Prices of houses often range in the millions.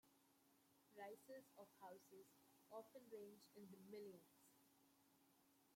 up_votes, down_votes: 0, 2